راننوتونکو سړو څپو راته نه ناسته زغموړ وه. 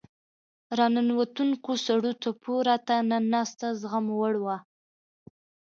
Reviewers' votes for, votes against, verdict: 2, 0, accepted